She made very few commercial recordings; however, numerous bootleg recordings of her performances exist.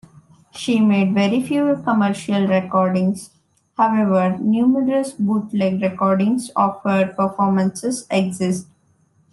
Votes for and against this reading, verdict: 2, 0, accepted